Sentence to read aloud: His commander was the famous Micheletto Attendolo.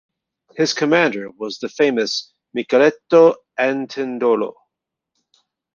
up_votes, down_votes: 1, 2